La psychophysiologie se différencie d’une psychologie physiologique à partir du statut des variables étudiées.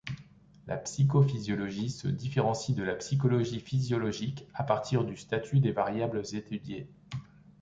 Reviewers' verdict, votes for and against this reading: rejected, 0, 2